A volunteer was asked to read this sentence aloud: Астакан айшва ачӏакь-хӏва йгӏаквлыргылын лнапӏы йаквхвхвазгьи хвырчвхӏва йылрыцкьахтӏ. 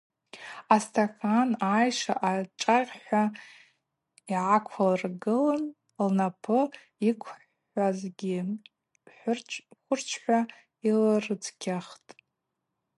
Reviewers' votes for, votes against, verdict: 0, 2, rejected